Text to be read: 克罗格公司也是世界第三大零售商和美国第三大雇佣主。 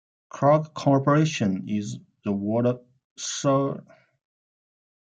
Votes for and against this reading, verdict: 0, 2, rejected